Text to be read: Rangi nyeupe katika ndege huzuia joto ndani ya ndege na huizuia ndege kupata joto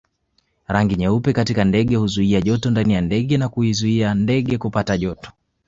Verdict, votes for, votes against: accepted, 2, 0